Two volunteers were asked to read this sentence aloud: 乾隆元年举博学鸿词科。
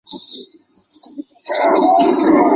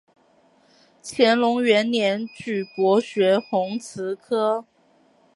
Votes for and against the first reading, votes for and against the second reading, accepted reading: 1, 5, 2, 0, second